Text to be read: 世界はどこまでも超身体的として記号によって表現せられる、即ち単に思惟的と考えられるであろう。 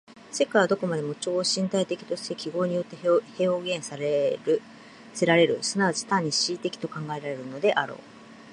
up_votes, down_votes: 1, 2